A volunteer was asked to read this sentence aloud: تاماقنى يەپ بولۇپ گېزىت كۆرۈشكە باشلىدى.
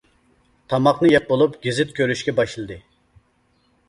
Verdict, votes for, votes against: accepted, 2, 0